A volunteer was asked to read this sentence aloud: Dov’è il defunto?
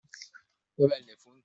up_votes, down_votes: 0, 2